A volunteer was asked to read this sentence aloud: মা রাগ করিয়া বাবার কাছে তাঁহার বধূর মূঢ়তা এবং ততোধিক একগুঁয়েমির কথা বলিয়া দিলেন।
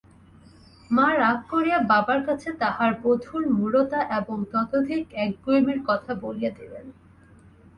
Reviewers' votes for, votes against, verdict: 2, 0, accepted